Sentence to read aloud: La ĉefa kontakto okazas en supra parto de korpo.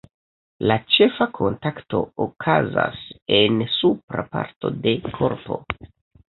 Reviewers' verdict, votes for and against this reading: accepted, 2, 1